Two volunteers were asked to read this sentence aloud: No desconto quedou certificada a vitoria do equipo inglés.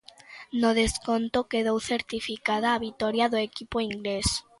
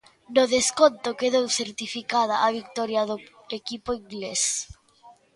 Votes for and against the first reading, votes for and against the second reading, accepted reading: 2, 0, 1, 2, first